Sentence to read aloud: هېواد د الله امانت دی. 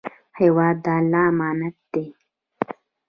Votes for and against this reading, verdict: 1, 2, rejected